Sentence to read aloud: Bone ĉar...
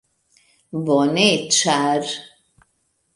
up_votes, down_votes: 2, 0